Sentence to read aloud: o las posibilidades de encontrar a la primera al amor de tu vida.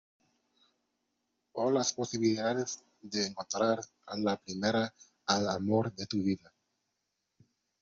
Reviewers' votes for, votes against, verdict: 2, 0, accepted